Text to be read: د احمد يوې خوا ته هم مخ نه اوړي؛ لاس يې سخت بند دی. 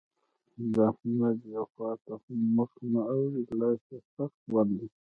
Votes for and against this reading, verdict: 1, 2, rejected